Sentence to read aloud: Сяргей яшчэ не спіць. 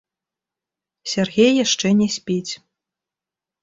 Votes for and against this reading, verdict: 0, 2, rejected